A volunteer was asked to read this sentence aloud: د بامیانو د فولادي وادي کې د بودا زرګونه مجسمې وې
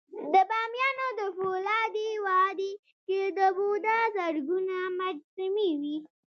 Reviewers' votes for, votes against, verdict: 2, 0, accepted